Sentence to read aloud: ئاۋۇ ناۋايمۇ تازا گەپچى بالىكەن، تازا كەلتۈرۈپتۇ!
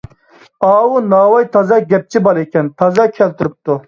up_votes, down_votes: 1, 2